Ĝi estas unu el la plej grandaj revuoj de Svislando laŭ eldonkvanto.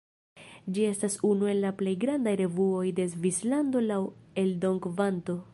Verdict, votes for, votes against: accepted, 2, 1